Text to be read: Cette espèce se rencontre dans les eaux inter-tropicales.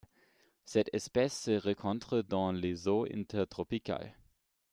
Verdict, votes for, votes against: rejected, 1, 2